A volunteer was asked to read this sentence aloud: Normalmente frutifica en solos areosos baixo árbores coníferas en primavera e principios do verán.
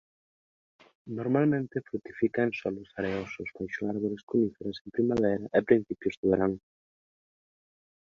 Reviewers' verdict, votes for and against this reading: rejected, 0, 2